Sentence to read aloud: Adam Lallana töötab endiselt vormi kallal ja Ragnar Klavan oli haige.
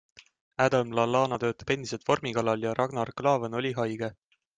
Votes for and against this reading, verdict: 2, 0, accepted